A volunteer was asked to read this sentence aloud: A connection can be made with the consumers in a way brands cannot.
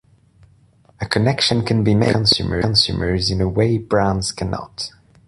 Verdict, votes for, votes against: rejected, 0, 2